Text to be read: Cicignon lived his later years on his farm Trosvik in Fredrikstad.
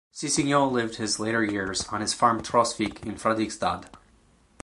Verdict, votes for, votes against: accepted, 2, 0